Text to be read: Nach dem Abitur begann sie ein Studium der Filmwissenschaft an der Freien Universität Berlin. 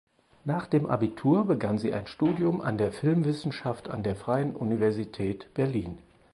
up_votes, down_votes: 0, 4